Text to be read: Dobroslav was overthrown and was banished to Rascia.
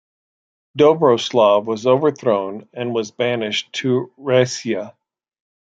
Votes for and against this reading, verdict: 1, 2, rejected